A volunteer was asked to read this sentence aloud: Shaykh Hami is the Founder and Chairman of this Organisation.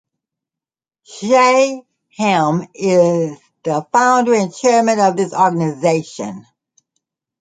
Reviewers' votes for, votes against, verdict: 0, 2, rejected